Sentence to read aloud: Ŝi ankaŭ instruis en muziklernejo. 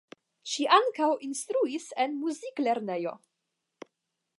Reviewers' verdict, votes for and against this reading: accepted, 5, 0